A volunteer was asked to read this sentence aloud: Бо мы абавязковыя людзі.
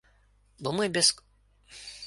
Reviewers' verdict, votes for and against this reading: rejected, 0, 2